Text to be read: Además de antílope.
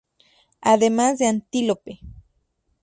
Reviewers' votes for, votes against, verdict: 2, 0, accepted